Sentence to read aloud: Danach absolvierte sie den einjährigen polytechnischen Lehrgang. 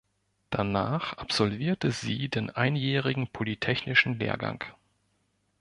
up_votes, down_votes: 2, 0